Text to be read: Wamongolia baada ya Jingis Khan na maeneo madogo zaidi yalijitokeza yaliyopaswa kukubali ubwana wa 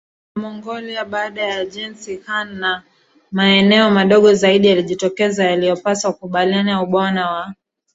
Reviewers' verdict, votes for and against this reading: rejected, 0, 2